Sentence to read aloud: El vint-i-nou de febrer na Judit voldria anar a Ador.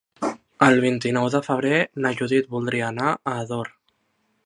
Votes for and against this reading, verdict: 3, 0, accepted